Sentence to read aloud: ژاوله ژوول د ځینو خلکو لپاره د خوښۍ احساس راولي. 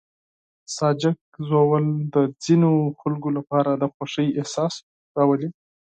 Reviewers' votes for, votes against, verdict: 2, 4, rejected